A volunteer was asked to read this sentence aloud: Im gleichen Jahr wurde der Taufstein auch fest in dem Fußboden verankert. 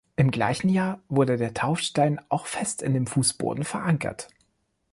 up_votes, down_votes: 2, 0